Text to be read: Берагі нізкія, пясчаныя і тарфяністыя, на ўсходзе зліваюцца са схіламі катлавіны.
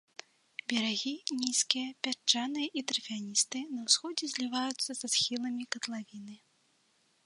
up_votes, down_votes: 1, 3